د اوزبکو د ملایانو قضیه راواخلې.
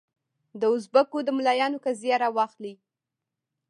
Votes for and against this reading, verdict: 1, 2, rejected